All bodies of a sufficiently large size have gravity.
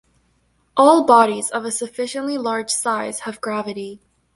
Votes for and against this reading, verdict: 1, 2, rejected